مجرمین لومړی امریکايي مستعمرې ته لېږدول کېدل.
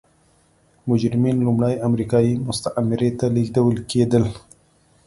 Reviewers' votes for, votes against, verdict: 0, 2, rejected